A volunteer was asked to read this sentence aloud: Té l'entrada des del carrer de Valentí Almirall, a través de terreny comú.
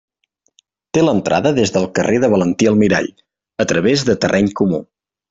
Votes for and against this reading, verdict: 3, 0, accepted